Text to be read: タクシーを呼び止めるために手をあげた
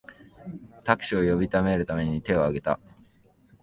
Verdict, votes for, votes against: accepted, 3, 0